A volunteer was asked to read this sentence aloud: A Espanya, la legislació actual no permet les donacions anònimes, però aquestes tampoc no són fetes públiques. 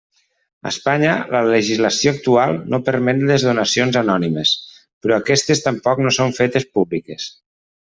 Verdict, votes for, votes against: accepted, 3, 0